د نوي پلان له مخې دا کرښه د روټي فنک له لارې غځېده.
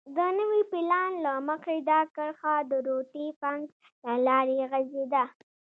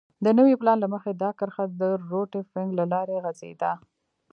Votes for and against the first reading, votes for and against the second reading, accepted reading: 2, 0, 0, 2, first